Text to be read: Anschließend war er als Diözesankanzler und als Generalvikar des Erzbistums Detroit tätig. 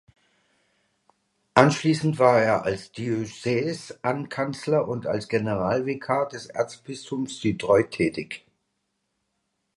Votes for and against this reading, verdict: 0, 2, rejected